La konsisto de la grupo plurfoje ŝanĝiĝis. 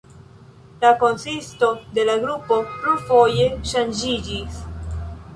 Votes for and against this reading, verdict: 2, 1, accepted